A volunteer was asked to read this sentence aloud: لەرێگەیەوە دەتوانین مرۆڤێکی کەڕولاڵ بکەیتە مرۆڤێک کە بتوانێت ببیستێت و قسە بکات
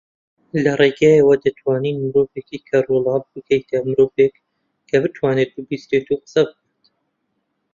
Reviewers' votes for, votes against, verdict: 1, 2, rejected